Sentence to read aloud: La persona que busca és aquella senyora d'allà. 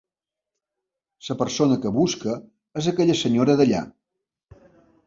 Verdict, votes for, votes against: rejected, 0, 2